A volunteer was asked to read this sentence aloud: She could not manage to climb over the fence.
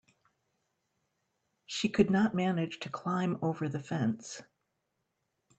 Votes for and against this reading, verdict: 3, 0, accepted